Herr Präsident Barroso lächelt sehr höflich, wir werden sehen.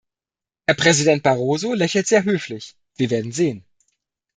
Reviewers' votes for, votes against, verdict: 2, 0, accepted